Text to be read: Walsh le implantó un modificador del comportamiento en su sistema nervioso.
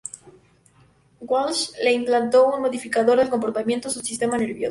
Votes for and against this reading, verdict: 0, 2, rejected